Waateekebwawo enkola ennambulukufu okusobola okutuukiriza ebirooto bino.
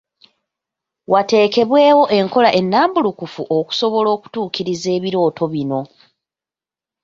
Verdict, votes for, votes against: rejected, 0, 2